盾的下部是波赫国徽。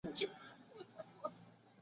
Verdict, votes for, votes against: rejected, 0, 2